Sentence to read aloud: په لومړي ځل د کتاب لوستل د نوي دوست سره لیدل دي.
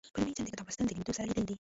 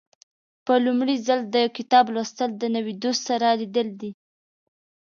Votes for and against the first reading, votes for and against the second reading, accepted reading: 0, 2, 2, 0, second